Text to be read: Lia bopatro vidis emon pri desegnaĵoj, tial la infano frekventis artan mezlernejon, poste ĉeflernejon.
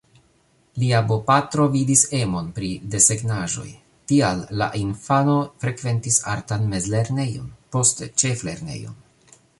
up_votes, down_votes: 0, 2